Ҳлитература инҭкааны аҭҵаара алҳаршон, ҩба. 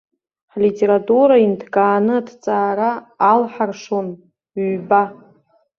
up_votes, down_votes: 2, 0